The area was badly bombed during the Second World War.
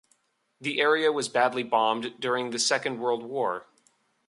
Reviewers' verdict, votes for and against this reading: accepted, 2, 0